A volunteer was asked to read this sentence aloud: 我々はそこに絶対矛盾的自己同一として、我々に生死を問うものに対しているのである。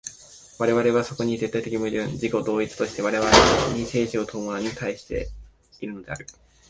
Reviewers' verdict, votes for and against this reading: accepted, 2, 1